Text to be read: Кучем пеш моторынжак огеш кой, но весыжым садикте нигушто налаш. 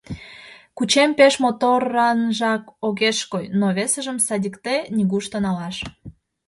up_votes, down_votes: 2, 0